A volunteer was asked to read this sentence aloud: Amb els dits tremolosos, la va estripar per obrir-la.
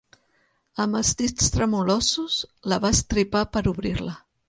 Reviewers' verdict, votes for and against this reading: rejected, 1, 2